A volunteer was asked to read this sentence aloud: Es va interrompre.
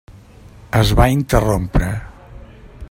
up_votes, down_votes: 3, 0